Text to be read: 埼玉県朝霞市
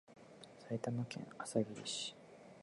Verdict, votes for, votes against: rejected, 0, 2